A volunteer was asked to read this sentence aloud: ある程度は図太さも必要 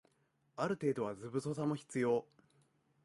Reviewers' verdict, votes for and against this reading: rejected, 0, 2